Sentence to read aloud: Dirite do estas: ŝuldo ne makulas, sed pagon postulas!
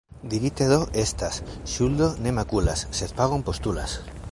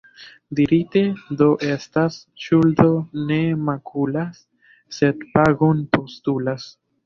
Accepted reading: first